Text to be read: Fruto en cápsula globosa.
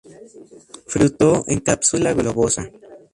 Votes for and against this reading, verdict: 2, 0, accepted